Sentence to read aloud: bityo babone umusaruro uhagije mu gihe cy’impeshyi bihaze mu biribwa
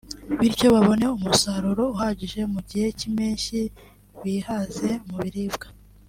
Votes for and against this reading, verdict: 2, 0, accepted